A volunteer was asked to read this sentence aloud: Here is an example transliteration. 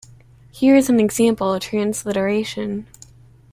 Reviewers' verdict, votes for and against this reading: accepted, 2, 0